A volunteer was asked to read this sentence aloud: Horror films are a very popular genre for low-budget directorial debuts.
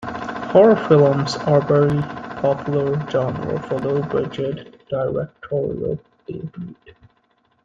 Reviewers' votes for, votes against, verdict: 1, 2, rejected